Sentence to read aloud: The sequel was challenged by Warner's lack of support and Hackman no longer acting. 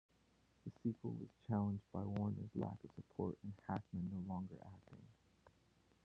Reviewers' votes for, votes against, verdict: 0, 2, rejected